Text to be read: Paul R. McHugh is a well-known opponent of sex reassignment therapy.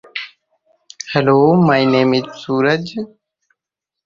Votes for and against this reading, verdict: 0, 2, rejected